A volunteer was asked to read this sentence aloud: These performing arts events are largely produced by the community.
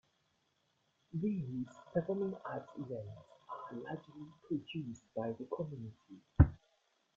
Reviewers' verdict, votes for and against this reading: accepted, 2, 1